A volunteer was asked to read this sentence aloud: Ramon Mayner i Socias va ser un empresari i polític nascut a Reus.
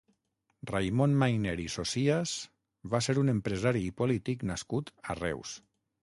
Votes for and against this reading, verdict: 0, 6, rejected